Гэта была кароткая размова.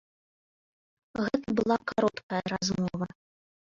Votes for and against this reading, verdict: 0, 2, rejected